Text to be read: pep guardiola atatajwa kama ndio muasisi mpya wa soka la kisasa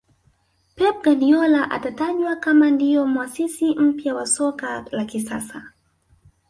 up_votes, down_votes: 4, 0